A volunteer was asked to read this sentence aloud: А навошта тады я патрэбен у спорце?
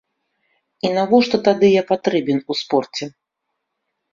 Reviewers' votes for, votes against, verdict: 0, 2, rejected